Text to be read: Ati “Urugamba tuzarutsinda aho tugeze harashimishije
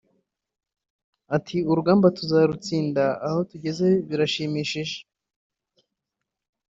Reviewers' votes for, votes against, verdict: 2, 1, accepted